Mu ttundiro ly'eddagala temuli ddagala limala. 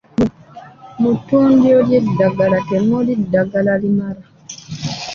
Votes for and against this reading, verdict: 2, 1, accepted